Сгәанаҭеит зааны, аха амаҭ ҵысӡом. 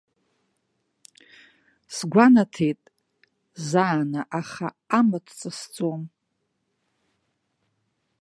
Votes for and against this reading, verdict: 0, 2, rejected